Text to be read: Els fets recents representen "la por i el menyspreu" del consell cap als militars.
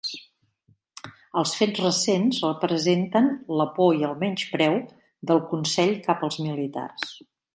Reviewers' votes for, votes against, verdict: 2, 0, accepted